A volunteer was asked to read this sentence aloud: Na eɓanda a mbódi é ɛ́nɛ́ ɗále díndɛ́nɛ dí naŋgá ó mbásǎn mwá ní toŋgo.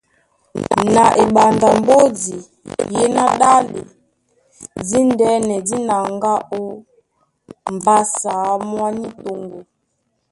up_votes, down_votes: 1, 2